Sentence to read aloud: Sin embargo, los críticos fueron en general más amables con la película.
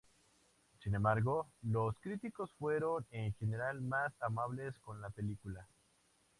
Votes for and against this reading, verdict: 2, 0, accepted